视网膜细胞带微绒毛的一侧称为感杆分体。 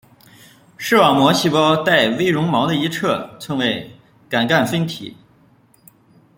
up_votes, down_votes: 1, 2